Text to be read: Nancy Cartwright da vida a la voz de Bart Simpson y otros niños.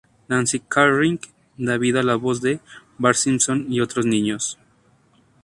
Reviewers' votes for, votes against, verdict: 0, 2, rejected